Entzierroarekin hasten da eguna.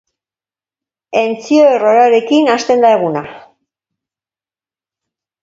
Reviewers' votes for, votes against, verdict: 1, 2, rejected